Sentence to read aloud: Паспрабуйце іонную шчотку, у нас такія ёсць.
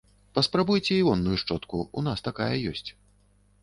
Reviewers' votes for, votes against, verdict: 1, 2, rejected